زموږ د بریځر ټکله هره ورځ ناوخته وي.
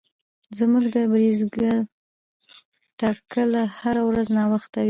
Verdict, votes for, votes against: rejected, 0, 2